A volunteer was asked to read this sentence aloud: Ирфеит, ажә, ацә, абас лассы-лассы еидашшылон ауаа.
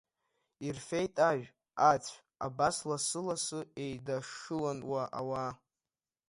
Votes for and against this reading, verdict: 2, 1, accepted